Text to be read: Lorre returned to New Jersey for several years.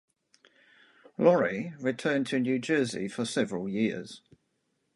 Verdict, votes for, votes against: rejected, 0, 2